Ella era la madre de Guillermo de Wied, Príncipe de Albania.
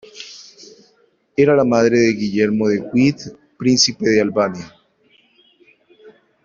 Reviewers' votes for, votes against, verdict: 0, 2, rejected